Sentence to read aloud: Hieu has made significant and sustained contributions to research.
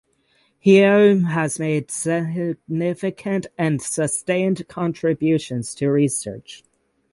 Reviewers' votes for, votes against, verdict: 3, 6, rejected